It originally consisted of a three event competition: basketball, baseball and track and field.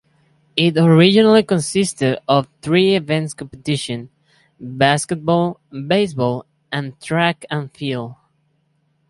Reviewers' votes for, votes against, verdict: 0, 4, rejected